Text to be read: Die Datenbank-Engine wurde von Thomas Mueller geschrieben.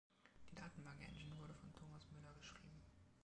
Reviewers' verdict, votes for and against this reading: accepted, 2, 1